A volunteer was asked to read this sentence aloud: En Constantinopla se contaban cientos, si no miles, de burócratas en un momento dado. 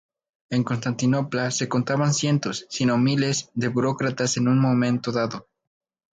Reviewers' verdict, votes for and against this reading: rejected, 0, 2